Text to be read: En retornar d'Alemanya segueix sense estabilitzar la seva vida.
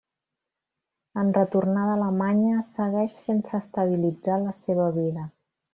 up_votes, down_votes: 1, 2